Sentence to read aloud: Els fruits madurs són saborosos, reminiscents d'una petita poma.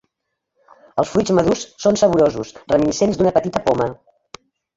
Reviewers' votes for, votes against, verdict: 1, 2, rejected